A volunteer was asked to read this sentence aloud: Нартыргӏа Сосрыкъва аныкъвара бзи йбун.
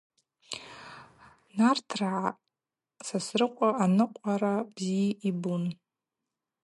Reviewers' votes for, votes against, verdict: 0, 2, rejected